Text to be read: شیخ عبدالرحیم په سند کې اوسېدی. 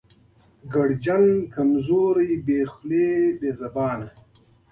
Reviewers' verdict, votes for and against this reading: rejected, 0, 2